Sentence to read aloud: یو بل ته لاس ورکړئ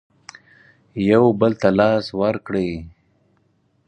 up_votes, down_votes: 4, 0